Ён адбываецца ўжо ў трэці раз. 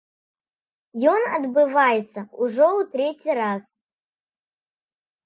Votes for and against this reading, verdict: 2, 0, accepted